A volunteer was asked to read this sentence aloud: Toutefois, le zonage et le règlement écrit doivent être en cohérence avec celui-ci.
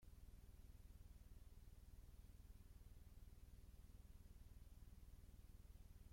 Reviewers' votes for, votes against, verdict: 0, 2, rejected